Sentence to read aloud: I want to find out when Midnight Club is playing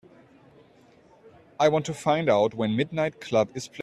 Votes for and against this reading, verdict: 1, 2, rejected